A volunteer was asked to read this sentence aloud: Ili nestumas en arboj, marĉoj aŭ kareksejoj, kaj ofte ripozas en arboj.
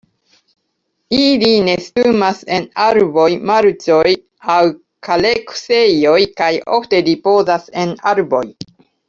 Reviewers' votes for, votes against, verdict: 2, 1, accepted